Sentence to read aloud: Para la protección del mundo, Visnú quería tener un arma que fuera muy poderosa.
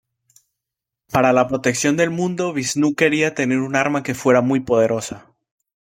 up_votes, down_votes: 2, 0